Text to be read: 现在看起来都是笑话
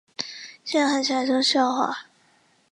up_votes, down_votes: 0, 2